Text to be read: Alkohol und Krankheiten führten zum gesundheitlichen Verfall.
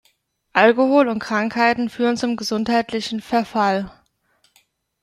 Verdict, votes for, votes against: rejected, 1, 2